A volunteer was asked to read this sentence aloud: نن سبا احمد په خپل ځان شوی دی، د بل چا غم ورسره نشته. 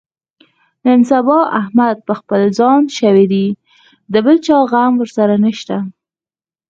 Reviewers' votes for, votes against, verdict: 4, 0, accepted